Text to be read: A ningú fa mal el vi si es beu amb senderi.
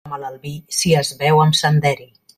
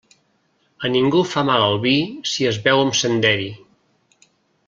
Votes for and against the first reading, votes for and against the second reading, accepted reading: 0, 2, 2, 0, second